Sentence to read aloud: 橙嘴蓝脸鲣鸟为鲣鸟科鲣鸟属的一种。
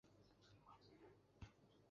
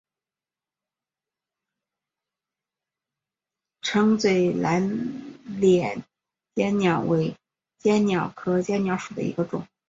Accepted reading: second